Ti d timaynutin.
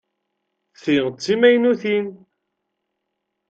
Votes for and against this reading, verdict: 1, 2, rejected